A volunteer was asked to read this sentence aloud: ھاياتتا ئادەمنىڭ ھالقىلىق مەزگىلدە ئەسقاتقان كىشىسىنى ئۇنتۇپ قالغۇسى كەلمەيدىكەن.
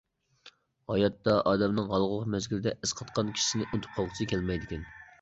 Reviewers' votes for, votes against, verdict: 2, 1, accepted